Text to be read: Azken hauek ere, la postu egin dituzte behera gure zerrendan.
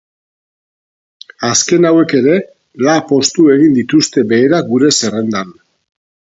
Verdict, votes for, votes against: rejected, 0, 4